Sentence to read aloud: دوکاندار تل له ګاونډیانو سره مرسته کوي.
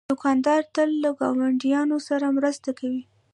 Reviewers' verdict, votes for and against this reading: rejected, 2, 2